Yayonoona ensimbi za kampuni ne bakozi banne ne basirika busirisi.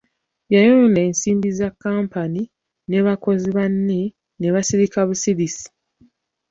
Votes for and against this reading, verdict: 0, 2, rejected